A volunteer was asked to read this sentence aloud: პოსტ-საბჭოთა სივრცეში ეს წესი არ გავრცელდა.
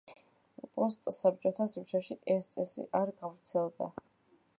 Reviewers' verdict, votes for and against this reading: rejected, 1, 2